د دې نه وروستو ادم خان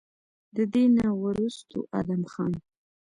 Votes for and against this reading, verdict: 1, 2, rejected